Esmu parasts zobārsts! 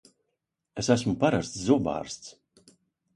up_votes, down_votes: 0, 2